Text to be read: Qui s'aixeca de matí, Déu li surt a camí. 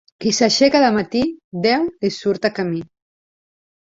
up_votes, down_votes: 2, 0